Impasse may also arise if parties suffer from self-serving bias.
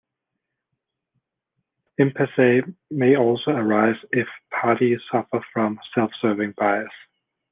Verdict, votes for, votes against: accepted, 2, 1